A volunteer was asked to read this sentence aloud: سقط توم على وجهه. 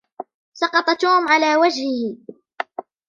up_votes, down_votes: 1, 2